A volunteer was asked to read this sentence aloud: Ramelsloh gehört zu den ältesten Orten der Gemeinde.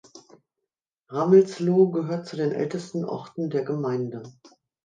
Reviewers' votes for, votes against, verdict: 3, 0, accepted